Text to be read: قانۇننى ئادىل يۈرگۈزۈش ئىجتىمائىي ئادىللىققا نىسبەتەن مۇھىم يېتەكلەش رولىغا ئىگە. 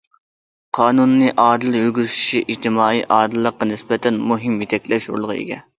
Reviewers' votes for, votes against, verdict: 0, 2, rejected